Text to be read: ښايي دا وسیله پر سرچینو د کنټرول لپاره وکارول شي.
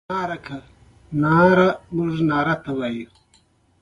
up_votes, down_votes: 2, 0